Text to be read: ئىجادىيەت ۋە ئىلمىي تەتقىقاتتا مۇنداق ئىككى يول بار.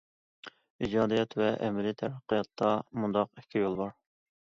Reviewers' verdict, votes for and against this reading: rejected, 0, 2